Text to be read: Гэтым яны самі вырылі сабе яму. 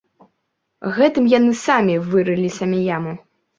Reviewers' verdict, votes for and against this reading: rejected, 1, 2